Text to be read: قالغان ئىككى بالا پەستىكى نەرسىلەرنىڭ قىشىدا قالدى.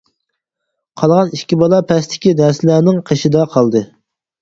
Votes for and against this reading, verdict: 0, 4, rejected